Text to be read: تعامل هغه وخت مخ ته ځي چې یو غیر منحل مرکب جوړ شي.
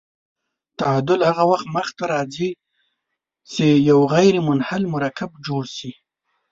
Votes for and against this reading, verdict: 2, 0, accepted